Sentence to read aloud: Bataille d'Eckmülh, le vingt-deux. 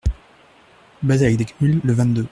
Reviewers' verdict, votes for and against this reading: rejected, 0, 2